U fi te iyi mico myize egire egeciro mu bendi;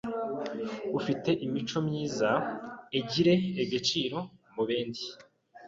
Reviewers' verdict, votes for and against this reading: rejected, 1, 2